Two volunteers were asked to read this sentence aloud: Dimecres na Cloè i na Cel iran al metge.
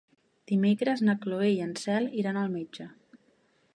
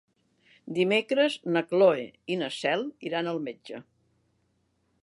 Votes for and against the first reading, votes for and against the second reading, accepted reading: 1, 2, 3, 1, second